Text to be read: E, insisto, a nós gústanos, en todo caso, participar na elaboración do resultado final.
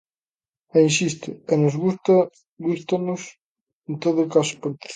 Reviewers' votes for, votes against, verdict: 0, 2, rejected